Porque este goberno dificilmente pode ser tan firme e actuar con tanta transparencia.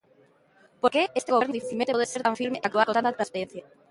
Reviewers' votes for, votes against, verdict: 0, 2, rejected